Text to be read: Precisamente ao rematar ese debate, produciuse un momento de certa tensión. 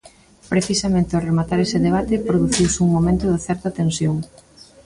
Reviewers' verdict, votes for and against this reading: accepted, 2, 1